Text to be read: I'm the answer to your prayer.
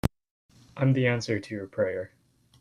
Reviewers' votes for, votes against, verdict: 2, 1, accepted